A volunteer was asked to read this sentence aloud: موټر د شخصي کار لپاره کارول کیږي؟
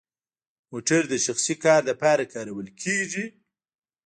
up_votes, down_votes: 1, 2